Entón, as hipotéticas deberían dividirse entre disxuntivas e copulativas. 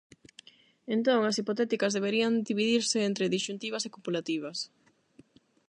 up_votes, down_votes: 8, 0